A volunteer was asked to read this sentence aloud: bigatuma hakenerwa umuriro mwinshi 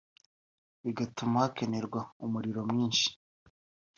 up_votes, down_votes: 2, 0